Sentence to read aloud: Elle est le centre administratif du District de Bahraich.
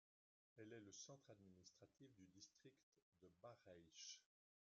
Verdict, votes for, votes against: rejected, 1, 2